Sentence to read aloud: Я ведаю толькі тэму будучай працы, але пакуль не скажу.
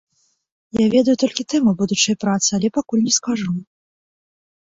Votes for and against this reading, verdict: 2, 0, accepted